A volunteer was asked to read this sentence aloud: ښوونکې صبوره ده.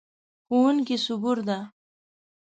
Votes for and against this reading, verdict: 1, 2, rejected